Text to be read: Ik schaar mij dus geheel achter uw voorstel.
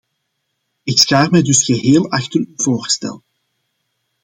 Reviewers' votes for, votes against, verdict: 2, 1, accepted